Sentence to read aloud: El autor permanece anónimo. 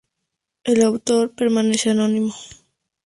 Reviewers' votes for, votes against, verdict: 2, 0, accepted